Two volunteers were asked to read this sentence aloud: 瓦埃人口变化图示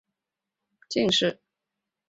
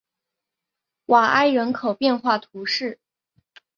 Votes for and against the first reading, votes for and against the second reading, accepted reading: 0, 2, 4, 0, second